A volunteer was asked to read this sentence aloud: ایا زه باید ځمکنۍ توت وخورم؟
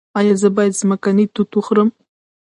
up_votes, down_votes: 1, 2